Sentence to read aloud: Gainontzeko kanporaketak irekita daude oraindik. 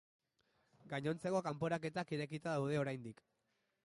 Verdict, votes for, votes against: accepted, 2, 0